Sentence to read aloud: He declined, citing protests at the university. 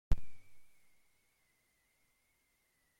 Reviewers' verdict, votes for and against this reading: rejected, 0, 2